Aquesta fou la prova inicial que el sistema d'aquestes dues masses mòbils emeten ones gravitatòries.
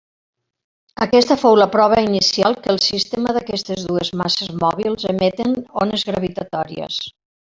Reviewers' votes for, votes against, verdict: 3, 0, accepted